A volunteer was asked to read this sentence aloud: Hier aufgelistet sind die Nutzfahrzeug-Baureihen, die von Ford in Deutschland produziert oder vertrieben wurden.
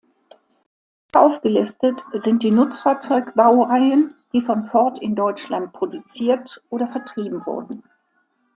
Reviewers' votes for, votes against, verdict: 0, 2, rejected